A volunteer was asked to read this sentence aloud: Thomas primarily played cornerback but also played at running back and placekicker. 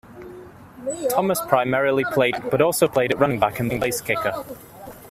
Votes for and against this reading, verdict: 0, 2, rejected